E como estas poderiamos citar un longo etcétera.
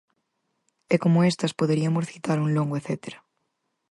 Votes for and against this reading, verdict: 2, 4, rejected